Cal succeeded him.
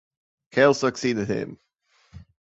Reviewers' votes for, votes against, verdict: 2, 0, accepted